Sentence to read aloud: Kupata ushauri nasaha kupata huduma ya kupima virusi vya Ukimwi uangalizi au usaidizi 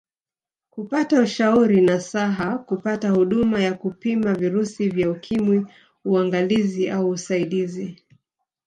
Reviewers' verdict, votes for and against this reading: rejected, 0, 2